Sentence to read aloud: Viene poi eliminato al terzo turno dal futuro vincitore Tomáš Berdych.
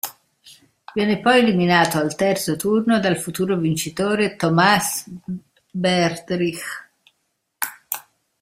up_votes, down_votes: 1, 2